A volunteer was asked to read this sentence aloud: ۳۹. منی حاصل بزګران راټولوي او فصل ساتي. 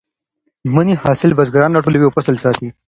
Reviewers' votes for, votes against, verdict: 0, 2, rejected